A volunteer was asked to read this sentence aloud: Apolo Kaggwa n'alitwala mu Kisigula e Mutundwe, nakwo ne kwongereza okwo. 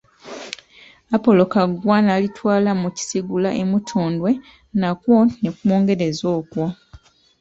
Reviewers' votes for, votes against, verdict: 2, 1, accepted